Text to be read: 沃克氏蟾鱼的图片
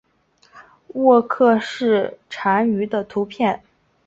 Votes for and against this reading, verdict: 2, 1, accepted